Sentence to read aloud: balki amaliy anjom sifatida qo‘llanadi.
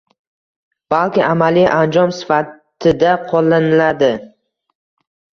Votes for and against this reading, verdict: 1, 2, rejected